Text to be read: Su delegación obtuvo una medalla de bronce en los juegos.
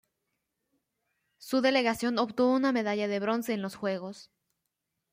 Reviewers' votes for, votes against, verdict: 2, 0, accepted